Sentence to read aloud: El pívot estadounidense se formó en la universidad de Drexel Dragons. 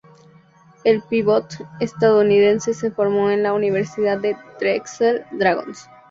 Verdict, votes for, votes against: accepted, 2, 0